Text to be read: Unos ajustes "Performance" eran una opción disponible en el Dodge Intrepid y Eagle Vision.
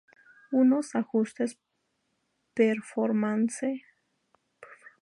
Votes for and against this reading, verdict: 0, 4, rejected